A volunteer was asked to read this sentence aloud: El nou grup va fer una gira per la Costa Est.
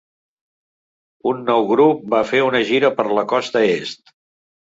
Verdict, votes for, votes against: rejected, 0, 2